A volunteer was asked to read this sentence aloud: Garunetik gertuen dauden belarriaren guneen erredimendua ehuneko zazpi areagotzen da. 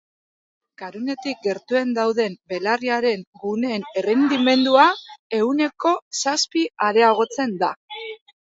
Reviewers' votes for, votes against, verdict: 1, 2, rejected